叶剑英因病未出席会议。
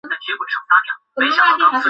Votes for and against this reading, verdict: 0, 3, rejected